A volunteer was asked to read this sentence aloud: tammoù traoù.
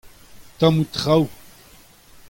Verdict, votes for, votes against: accepted, 2, 0